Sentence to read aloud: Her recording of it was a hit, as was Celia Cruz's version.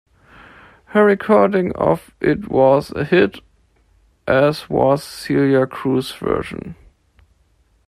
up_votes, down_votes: 1, 2